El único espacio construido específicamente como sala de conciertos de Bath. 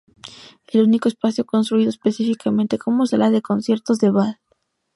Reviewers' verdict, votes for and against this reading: accepted, 2, 0